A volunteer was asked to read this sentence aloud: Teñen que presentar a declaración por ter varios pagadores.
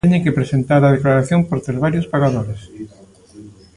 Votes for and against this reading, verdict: 0, 2, rejected